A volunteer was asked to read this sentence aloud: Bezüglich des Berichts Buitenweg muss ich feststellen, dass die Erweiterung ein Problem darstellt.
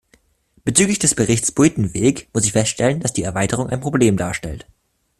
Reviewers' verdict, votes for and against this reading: accepted, 2, 0